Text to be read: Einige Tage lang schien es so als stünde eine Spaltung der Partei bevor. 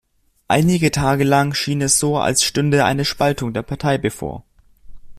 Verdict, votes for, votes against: accepted, 2, 1